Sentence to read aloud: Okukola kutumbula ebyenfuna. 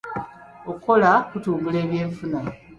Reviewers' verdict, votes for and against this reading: rejected, 1, 2